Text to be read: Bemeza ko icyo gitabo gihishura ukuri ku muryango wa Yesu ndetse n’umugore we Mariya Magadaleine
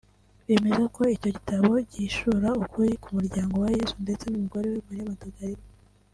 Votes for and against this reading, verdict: 1, 2, rejected